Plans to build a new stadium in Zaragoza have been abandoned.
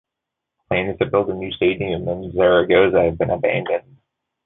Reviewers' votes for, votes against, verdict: 2, 1, accepted